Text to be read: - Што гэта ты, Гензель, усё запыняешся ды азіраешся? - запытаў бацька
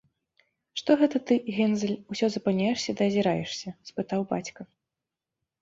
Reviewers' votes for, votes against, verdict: 0, 2, rejected